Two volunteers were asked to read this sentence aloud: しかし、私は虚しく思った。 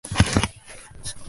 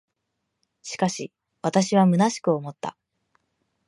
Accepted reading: second